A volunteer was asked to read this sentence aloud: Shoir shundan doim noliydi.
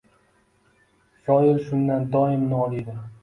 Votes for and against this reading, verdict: 2, 0, accepted